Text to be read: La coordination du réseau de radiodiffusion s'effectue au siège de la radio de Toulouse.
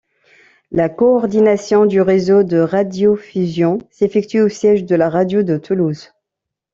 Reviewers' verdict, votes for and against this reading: rejected, 1, 2